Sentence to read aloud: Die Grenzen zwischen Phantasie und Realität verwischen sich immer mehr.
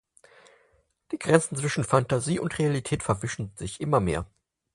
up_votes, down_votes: 4, 0